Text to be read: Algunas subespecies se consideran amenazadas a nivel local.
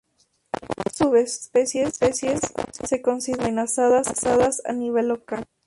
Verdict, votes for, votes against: rejected, 0, 4